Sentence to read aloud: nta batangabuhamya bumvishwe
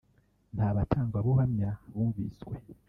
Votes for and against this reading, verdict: 2, 0, accepted